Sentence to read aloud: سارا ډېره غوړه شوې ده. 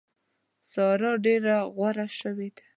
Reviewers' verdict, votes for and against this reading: rejected, 1, 2